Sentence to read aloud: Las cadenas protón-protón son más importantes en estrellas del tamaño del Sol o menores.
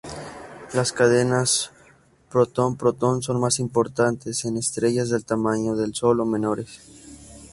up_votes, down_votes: 0, 2